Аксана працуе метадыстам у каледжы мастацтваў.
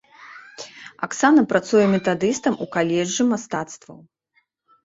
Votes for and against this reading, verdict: 2, 0, accepted